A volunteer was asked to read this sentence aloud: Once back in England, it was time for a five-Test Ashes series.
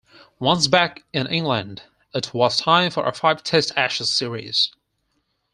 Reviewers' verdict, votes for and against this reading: accepted, 4, 0